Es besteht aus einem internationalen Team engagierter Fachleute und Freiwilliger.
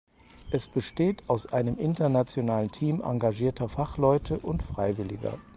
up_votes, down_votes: 4, 0